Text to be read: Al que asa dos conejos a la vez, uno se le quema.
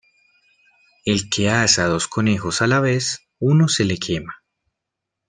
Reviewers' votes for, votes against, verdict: 1, 2, rejected